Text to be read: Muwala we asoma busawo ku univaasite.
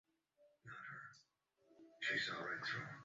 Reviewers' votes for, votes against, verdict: 0, 2, rejected